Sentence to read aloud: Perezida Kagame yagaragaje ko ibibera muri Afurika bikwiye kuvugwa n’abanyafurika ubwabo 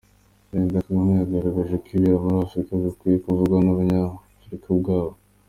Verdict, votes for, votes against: accepted, 2, 0